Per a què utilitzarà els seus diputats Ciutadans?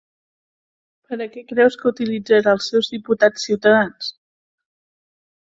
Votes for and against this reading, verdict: 0, 2, rejected